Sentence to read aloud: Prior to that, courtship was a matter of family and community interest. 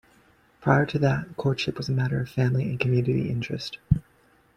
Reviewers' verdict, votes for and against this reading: rejected, 1, 2